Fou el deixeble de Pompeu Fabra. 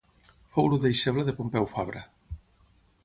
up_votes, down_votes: 6, 9